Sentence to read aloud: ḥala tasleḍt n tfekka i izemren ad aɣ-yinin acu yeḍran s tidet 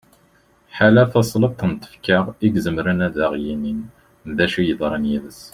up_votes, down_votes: 1, 2